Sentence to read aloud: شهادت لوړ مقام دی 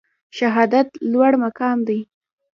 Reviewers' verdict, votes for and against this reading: rejected, 0, 2